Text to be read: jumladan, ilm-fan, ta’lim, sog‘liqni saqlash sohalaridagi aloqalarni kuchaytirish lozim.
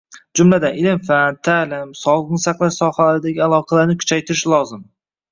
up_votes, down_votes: 0, 2